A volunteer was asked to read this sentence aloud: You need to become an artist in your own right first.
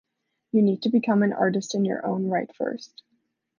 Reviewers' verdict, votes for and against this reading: accepted, 2, 0